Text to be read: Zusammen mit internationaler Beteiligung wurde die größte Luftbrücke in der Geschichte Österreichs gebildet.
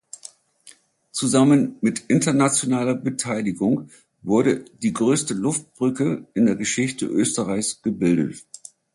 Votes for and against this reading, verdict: 2, 0, accepted